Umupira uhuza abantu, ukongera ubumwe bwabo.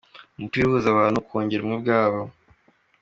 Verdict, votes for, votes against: accepted, 2, 1